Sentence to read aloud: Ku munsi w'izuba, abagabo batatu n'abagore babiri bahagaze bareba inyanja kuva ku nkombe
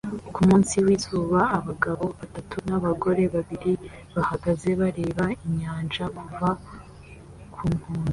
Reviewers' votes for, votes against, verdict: 2, 0, accepted